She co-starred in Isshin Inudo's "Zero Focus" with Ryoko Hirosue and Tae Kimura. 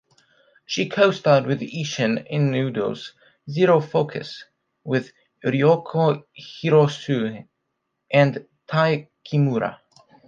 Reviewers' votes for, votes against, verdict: 2, 0, accepted